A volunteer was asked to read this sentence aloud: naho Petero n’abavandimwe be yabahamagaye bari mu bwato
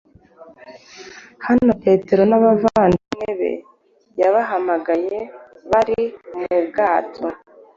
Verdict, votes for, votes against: accepted, 2, 0